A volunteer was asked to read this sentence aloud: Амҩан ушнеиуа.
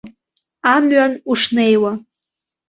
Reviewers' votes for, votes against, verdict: 2, 0, accepted